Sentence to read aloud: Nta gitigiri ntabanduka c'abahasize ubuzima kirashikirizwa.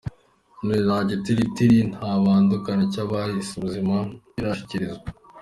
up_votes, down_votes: 2, 3